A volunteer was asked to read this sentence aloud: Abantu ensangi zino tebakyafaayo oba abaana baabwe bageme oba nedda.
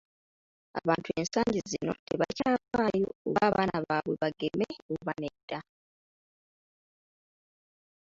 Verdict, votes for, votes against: rejected, 1, 2